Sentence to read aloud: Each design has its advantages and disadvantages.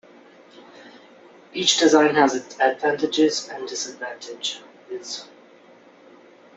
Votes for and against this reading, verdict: 0, 2, rejected